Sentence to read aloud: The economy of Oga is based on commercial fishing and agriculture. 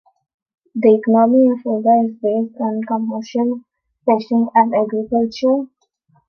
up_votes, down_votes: 0, 2